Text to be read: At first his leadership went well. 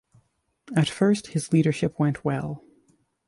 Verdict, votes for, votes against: accepted, 2, 0